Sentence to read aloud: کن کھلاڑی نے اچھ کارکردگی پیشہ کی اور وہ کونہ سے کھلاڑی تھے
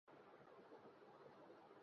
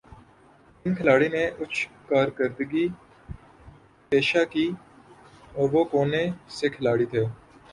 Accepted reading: second